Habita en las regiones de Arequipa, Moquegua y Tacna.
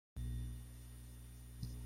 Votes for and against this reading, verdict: 0, 2, rejected